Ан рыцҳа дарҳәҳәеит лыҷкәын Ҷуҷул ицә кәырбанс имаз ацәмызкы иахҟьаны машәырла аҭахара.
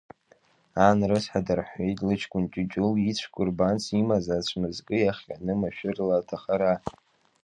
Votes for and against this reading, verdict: 2, 1, accepted